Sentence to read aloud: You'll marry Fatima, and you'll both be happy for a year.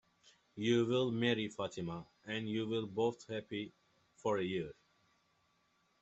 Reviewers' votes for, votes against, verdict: 0, 2, rejected